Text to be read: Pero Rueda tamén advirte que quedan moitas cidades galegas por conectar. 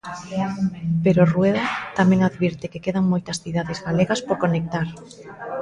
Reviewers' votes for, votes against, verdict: 2, 0, accepted